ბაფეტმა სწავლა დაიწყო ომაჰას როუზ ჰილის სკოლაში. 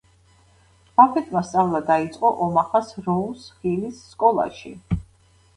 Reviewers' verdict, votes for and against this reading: accepted, 2, 0